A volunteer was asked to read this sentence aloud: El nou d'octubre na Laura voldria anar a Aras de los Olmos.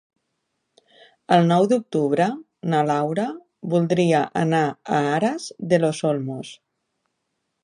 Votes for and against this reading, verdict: 3, 0, accepted